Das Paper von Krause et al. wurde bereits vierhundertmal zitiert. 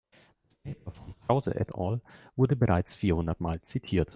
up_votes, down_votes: 0, 2